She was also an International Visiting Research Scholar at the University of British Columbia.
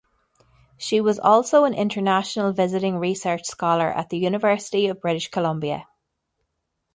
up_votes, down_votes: 2, 0